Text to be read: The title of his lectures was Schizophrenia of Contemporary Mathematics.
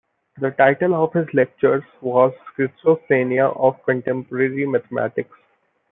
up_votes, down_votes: 2, 1